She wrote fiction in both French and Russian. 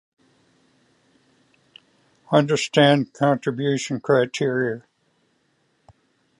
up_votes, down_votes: 0, 2